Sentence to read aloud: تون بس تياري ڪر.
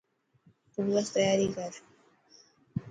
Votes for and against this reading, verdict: 5, 0, accepted